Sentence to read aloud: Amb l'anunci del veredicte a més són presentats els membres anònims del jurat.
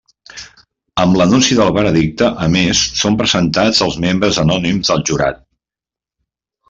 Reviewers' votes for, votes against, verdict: 3, 0, accepted